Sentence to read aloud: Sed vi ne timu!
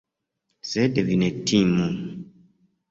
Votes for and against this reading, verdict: 2, 1, accepted